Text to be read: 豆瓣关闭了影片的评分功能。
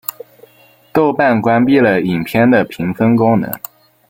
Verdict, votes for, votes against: rejected, 1, 2